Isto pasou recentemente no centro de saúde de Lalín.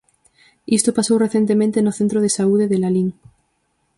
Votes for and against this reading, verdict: 4, 0, accepted